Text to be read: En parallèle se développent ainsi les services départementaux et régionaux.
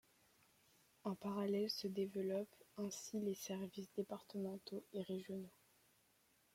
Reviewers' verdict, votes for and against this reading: accepted, 2, 0